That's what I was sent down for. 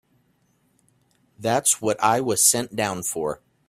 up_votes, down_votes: 2, 0